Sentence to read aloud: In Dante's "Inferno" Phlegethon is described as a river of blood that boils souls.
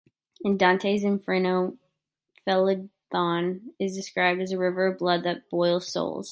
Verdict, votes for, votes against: rejected, 1, 2